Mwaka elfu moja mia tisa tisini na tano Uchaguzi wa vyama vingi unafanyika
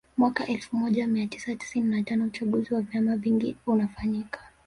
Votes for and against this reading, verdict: 1, 2, rejected